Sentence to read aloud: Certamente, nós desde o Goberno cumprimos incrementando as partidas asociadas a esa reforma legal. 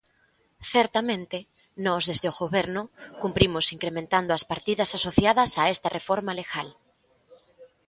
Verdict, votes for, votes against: rejected, 1, 2